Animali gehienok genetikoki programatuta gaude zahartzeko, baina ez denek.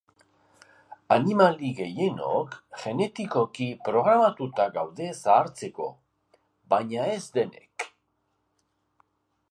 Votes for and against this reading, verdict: 2, 0, accepted